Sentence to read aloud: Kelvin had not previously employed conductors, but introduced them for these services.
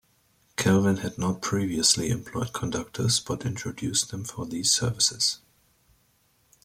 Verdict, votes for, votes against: rejected, 1, 2